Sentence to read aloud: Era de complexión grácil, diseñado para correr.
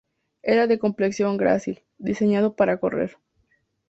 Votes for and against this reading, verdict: 4, 0, accepted